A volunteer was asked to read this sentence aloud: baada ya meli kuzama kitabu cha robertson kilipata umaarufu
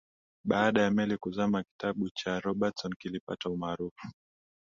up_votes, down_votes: 2, 0